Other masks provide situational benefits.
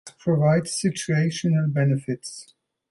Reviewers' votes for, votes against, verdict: 0, 2, rejected